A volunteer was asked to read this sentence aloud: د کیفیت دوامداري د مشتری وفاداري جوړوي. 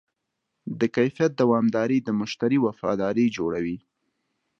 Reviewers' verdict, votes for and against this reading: accepted, 2, 0